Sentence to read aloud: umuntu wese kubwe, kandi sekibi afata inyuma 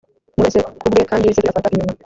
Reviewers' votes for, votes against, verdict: 1, 2, rejected